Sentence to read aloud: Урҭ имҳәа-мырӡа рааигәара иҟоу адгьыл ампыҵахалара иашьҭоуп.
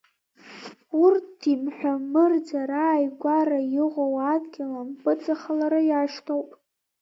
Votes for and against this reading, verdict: 1, 2, rejected